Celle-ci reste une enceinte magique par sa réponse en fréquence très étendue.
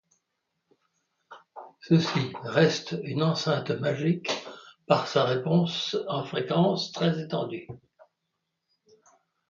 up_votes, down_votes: 2, 1